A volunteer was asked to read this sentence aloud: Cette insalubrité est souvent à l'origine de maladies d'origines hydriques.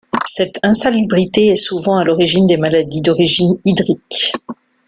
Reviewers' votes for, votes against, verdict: 2, 0, accepted